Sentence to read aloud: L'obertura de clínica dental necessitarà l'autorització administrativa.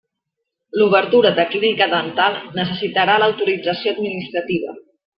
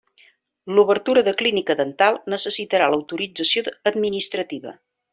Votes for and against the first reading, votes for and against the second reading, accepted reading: 2, 0, 1, 2, first